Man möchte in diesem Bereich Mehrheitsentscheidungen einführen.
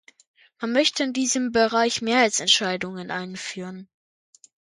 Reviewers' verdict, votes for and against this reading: accepted, 2, 0